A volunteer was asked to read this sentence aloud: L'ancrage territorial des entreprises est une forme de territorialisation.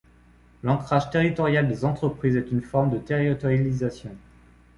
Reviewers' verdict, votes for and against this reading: rejected, 1, 2